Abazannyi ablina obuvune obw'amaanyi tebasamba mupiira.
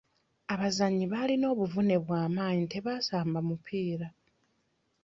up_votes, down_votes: 0, 2